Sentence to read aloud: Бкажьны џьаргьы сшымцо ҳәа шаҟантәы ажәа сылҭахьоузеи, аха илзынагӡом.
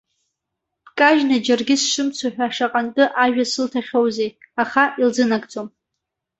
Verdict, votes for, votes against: accepted, 2, 0